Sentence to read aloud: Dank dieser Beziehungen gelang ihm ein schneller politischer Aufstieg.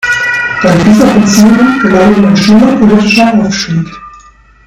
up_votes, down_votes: 1, 2